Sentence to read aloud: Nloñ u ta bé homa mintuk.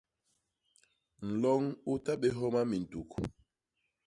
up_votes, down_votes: 2, 0